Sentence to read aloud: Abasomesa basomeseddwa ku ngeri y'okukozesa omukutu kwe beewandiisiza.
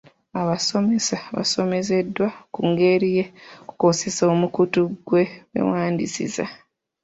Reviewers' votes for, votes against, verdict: 0, 2, rejected